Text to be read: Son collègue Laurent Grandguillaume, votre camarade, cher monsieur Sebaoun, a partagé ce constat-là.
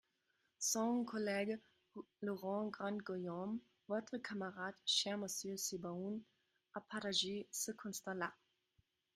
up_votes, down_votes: 0, 2